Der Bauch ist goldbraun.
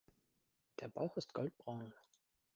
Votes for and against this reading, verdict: 2, 0, accepted